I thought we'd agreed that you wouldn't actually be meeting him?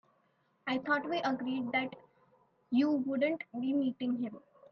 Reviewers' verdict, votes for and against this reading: rejected, 1, 2